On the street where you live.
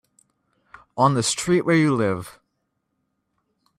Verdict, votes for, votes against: accepted, 2, 0